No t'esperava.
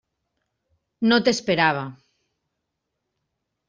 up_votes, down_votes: 3, 0